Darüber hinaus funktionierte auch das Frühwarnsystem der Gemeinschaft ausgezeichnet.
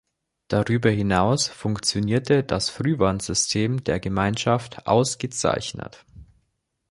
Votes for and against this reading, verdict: 0, 2, rejected